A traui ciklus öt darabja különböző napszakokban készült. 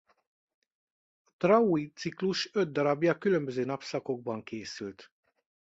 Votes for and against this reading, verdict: 0, 2, rejected